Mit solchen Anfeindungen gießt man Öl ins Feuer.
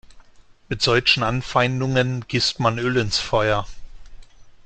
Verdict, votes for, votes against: rejected, 1, 2